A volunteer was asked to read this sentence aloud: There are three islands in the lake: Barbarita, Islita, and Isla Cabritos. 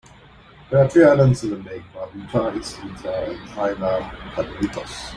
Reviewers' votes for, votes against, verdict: 1, 2, rejected